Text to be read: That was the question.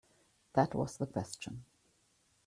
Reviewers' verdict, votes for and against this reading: accepted, 2, 0